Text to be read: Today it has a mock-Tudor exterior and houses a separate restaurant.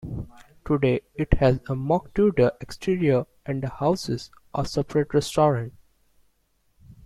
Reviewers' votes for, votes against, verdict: 1, 2, rejected